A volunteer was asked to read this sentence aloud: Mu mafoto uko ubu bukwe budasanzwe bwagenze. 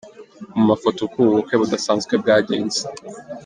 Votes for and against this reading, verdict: 2, 0, accepted